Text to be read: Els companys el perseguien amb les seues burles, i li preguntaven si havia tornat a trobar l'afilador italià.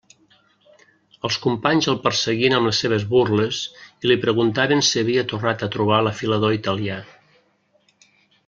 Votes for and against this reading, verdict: 1, 2, rejected